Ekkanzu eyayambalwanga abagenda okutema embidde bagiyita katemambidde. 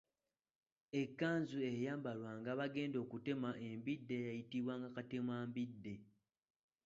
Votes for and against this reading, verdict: 0, 2, rejected